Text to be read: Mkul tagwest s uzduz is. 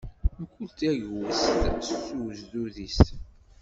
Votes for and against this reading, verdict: 2, 0, accepted